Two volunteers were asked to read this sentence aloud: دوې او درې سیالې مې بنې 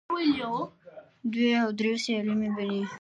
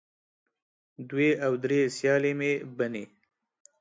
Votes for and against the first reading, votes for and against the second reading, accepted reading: 1, 2, 4, 0, second